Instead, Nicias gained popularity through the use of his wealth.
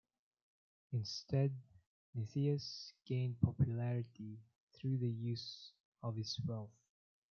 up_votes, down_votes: 0, 2